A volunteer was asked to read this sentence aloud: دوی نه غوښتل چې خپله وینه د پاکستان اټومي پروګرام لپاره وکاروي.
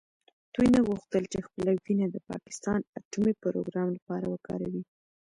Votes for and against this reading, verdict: 1, 2, rejected